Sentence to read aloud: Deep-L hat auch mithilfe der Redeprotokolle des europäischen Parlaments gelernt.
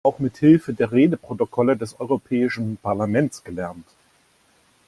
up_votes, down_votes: 0, 2